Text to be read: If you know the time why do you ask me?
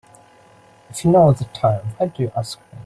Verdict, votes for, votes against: rejected, 1, 2